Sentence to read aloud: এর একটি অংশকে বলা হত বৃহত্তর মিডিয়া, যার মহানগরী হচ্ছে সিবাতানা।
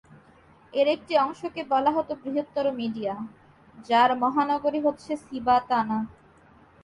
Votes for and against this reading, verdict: 2, 0, accepted